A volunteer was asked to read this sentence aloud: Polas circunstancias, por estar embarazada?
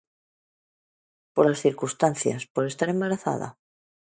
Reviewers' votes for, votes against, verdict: 2, 0, accepted